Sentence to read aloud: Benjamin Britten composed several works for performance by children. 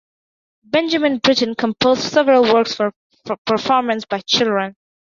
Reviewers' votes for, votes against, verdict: 2, 3, rejected